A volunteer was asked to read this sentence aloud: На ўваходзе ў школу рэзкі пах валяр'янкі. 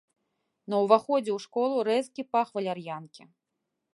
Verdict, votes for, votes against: accepted, 2, 0